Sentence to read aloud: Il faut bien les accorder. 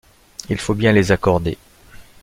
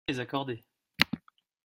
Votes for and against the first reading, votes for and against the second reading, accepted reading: 2, 0, 0, 2, first